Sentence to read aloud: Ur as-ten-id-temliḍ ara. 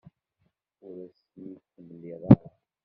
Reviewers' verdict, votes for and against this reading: rejected, 2, 3